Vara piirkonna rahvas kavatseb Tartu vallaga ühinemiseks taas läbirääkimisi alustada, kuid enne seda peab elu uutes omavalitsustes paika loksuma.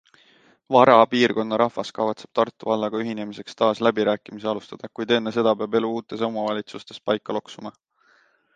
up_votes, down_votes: 2, 0